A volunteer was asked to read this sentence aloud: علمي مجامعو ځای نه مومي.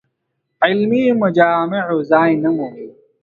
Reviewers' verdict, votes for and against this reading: accepted, 2, 0